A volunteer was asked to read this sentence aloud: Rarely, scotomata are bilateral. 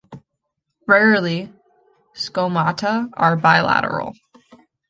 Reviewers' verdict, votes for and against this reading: rejected, 0, 2